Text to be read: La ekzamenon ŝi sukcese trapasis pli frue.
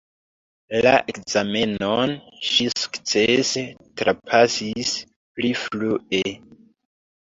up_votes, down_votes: 2, 0